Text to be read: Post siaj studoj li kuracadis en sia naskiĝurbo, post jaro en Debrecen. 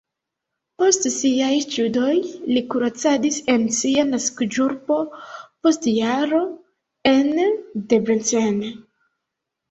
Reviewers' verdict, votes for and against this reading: rejected, 0, 2